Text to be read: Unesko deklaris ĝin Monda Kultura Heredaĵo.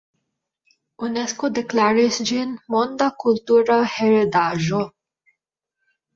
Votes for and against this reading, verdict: 1, 2, rejected